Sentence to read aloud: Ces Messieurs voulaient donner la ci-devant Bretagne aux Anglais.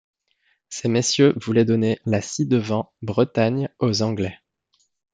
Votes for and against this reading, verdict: 2, 0, accepted